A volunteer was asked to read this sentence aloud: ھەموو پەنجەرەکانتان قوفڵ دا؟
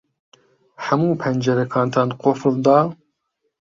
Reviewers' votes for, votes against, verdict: 2, 0, accepted